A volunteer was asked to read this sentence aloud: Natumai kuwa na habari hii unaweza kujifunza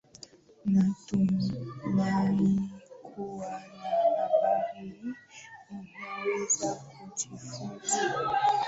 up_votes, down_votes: 0, 2